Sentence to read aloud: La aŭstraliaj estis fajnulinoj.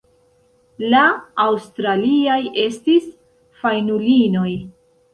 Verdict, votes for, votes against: accepted, 2, 0